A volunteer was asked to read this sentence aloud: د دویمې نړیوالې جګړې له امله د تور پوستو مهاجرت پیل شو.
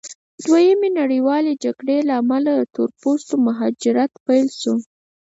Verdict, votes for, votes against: accepted, 4, 0